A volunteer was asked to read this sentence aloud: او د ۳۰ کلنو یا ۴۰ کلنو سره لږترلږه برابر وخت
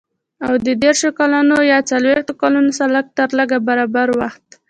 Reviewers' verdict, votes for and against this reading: rejected, 0, 2